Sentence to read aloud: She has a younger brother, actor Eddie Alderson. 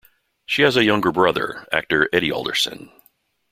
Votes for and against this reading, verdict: 2, 0, accepted